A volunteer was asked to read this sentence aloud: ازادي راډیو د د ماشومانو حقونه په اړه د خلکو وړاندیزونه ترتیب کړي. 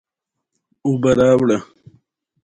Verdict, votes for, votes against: accepted, 2, 0